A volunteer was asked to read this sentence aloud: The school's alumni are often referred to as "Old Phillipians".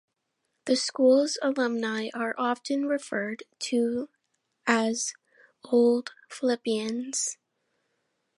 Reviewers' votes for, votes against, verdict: 2, 0, accepted